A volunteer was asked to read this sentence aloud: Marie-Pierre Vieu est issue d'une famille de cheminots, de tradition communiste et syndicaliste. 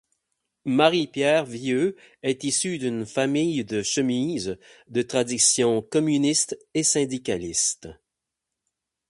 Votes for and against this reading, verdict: 4, 8, rejected